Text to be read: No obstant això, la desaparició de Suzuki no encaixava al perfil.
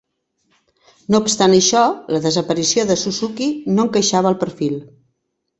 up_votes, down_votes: 2, 0